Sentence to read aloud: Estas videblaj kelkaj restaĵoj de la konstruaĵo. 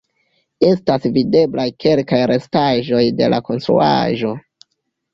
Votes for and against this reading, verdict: 2, 0, accepted